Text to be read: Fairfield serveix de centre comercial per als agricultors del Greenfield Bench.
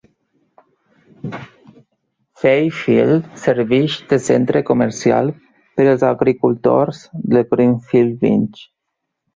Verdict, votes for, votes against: rejected, 4, 5